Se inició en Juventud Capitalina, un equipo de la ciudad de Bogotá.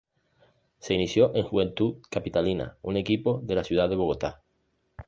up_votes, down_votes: 2, 0